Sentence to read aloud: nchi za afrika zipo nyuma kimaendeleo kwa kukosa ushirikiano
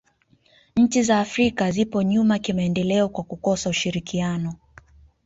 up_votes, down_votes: 2, 0